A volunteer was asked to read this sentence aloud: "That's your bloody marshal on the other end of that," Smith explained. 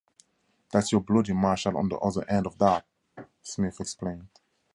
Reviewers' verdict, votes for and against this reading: accepted, 2, 0